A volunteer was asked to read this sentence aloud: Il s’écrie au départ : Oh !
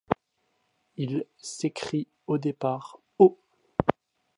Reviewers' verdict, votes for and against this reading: accepted, 2, 0